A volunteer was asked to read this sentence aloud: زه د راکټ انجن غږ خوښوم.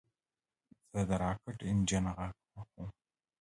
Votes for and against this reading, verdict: 2, 0, accepted